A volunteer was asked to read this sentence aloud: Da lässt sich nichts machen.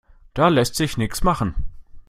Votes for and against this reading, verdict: 1, 2, rejected